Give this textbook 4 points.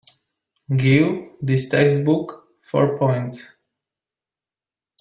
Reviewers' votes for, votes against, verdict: 0, 2, rejected